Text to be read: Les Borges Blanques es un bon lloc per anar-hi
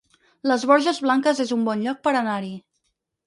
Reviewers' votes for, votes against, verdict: 4, 0, accepted